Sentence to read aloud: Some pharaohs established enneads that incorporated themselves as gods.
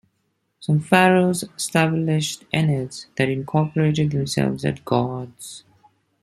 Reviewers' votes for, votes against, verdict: 0, 2, rejected